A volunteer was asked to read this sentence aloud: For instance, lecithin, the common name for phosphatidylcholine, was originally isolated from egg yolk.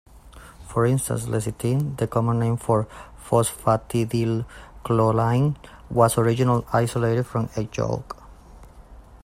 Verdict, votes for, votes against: rejected, 0, 2